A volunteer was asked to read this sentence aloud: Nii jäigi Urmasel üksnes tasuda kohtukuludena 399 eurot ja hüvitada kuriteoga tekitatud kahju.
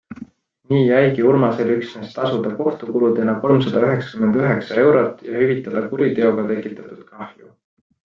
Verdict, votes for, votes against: rejected, 0, 2